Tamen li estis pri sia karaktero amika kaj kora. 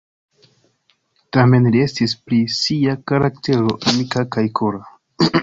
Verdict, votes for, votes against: rejected, 1, 2